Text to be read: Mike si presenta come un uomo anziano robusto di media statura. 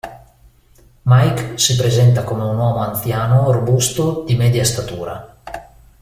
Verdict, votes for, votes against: rejected, 1, 2